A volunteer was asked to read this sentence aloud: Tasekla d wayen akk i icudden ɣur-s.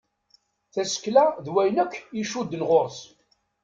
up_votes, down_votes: 2, 0